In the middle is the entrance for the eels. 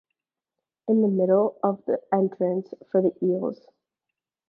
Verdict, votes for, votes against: rejected, 0, 2